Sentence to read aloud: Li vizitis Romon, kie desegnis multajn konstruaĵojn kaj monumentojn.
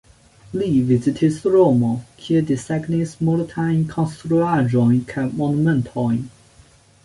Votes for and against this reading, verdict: 2, 0, accepted